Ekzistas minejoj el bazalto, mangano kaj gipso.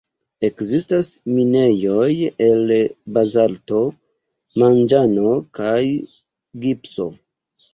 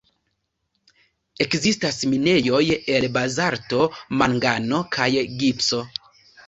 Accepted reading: second